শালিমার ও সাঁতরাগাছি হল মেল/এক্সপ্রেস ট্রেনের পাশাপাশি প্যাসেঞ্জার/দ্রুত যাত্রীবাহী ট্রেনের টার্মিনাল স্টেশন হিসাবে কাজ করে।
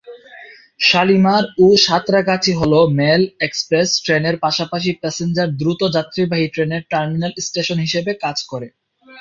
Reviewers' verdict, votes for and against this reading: accepted, 4, 0